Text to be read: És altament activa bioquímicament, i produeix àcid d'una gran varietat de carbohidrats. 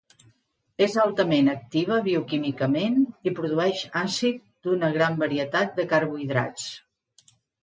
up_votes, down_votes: 2, 0